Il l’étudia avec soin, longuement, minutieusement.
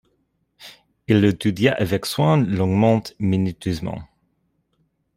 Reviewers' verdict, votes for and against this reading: rejected, 1, 2